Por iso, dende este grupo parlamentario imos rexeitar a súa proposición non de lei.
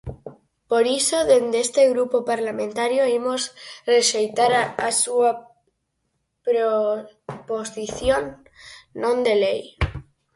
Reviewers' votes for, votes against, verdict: 0, 4, rejected